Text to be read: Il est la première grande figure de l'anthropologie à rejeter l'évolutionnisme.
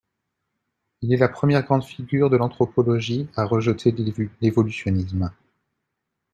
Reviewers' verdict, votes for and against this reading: rejected, 1, 2